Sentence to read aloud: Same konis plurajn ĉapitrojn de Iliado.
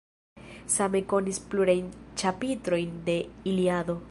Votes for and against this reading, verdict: 2, 0, accepted